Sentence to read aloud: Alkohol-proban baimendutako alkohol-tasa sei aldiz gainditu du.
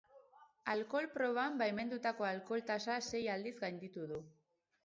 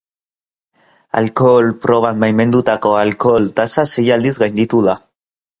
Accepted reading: first